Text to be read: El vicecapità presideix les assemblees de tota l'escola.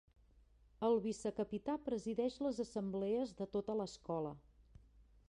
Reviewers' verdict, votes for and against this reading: accepted, 4, 0